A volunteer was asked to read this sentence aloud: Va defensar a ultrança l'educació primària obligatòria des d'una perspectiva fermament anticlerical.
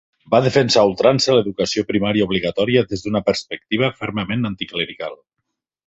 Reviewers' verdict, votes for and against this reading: accepted, 3, 0